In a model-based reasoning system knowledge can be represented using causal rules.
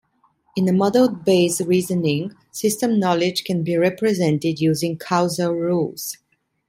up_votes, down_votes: 1, 2